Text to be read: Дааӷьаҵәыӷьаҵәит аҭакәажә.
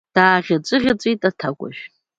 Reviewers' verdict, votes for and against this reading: rejected, 1, 2